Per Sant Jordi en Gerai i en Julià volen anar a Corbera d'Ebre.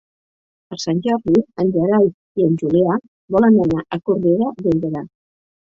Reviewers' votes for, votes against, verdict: 1, 2, rejected